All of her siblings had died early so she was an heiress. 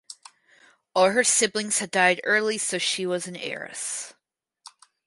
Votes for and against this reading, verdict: 2, 2, rejected